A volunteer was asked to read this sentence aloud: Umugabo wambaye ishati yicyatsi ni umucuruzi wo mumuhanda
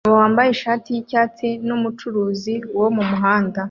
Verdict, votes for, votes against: rejected, 1, 2